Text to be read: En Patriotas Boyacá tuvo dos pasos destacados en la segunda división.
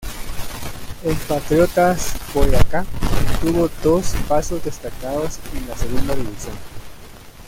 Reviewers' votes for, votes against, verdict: 0, 2, rejected